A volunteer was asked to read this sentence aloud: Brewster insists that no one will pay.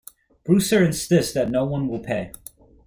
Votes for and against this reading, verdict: 0, 2, rejected